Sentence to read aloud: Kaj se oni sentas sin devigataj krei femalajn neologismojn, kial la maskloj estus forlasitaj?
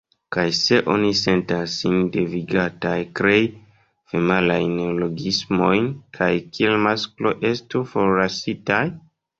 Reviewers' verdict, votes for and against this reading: rejected, 1, 2